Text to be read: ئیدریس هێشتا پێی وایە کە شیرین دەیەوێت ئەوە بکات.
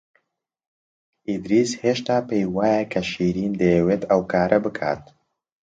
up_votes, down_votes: 0, 2